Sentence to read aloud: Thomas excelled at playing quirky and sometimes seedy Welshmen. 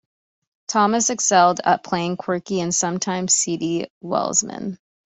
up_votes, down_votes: 2, 0